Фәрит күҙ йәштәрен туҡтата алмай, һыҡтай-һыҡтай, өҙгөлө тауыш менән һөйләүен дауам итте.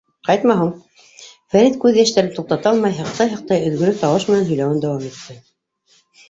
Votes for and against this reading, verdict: 0, 2, rejected